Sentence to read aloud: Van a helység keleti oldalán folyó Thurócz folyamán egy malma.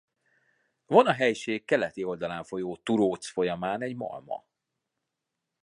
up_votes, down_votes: 2, 0